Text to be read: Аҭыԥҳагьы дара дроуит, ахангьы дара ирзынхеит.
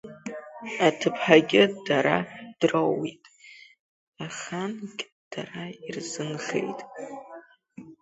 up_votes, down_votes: 2, 0